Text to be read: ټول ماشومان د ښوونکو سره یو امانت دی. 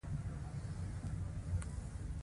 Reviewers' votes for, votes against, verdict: 2, 1, accepted